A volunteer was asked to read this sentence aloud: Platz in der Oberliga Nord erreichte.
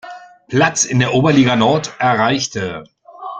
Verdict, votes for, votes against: accepted, 2, 1